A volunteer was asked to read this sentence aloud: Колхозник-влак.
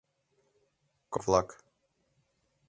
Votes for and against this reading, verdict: 0, 2, rejected